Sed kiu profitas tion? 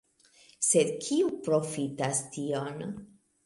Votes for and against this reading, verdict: 2, 0, accepted